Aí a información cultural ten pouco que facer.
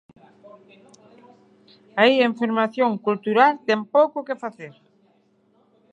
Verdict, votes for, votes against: rejected, 3, 6